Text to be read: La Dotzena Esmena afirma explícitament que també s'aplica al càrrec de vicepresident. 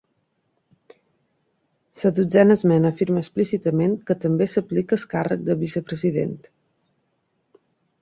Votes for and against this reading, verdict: 2, 1, accepted